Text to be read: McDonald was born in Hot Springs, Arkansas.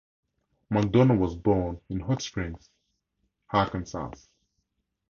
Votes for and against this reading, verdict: 4, 0, accepted